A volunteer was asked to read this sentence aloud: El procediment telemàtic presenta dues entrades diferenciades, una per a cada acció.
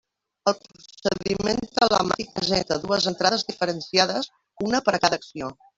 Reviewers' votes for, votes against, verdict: 1, 2, rejected